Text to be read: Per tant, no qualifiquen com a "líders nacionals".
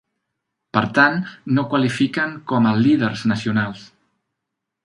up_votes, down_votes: 5, 1